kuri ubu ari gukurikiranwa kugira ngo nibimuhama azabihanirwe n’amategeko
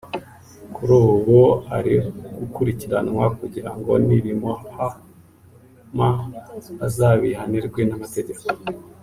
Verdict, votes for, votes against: accepted, 3, 0